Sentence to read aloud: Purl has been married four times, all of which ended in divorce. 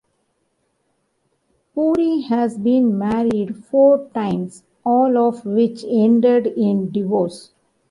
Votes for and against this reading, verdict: 1, 2, rejected